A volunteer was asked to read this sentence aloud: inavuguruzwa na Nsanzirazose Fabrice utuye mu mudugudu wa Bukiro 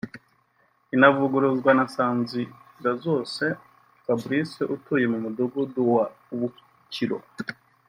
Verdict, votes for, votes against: accepted, 2, 0